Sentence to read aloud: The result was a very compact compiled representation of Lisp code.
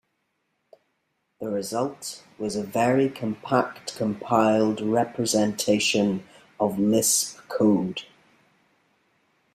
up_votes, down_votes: 2, 0